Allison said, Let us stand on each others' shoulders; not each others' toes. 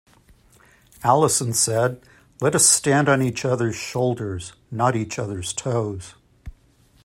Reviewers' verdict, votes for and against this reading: accepted, 2, 0